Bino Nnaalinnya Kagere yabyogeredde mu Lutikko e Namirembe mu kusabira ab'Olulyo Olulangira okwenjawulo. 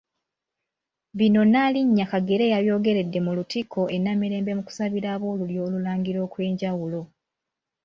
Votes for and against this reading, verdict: 2, 1, accepted